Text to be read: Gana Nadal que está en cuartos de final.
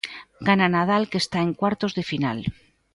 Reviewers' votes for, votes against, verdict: 2, 0, accepted